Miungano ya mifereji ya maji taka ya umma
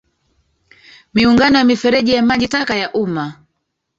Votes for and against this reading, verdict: 2, 3, rejected